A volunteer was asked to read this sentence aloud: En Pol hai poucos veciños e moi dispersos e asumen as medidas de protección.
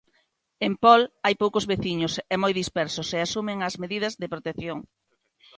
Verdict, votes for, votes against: accepted, 2, 0